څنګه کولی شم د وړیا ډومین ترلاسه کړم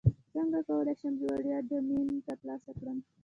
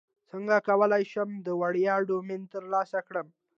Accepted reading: second